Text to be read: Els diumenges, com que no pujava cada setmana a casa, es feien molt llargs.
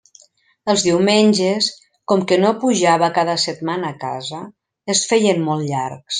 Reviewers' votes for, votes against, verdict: 3, 0, accepted